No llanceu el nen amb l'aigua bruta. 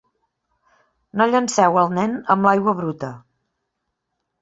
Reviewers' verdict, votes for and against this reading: accepted, 2, 1